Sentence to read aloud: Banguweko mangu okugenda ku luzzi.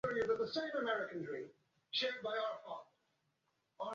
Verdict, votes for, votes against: rejected, 0, 2